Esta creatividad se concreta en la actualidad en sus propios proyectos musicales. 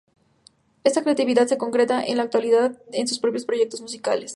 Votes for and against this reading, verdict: 2, 0, accepted